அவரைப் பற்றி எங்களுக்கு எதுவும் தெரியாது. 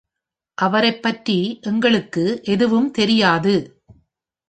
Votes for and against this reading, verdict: 2, 0, accepted